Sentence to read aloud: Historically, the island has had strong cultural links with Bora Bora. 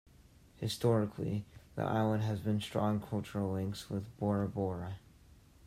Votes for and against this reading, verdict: 1, 2, rejected